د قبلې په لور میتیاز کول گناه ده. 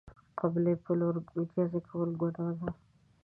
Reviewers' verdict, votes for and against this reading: accepted, 2, 1